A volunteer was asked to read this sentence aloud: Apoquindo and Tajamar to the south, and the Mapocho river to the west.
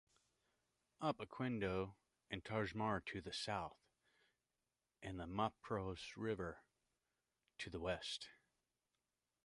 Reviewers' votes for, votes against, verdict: 0, 2, rejected